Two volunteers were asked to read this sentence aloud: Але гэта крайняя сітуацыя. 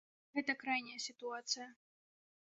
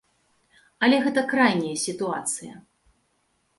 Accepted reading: second